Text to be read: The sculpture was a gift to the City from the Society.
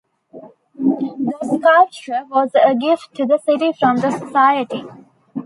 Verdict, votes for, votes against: accepted, 2, 0